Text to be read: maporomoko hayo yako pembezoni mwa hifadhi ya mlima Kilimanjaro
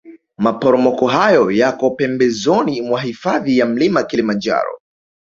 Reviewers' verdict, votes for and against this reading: rejected, 1, 2